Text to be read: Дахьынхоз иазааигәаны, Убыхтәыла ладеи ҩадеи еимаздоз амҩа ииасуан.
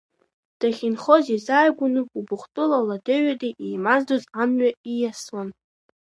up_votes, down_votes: 2, 0